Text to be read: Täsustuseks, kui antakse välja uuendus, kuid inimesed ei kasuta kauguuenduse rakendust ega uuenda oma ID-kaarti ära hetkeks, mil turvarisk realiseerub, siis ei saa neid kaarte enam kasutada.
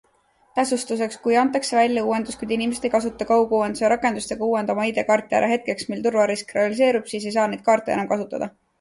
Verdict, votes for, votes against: accepted, 2, 0